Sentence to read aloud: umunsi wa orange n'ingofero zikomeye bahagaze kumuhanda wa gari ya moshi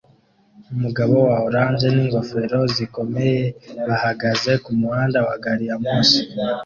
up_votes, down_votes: 1, 2